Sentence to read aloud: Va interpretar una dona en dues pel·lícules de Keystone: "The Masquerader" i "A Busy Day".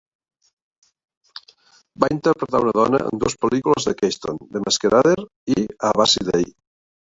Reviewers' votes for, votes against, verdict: 1, 2, rejected